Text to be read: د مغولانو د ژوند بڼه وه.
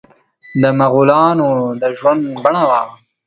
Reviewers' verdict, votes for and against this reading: accepted, 2, 0